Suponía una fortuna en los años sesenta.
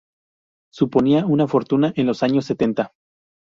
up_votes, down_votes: 2, 2